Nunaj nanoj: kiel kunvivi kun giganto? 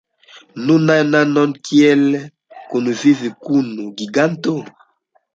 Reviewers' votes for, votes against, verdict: 2, 1, accepted